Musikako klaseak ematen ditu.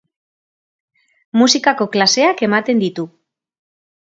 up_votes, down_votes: 2, 0